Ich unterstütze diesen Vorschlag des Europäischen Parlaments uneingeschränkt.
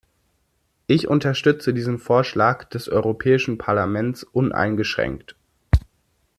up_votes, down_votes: 2, 0